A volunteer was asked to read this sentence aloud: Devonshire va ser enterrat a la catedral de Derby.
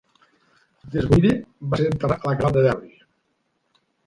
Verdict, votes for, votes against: rejected, 0, 2